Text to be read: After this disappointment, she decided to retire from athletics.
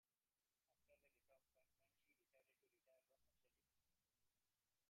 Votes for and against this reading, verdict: 1, 2, rejected